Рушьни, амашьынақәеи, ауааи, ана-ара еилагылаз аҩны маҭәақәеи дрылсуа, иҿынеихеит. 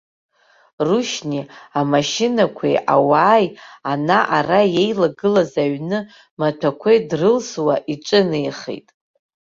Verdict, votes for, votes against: accepted, 2, 0